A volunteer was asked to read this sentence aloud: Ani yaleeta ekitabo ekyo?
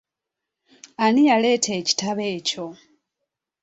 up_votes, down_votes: 4, 0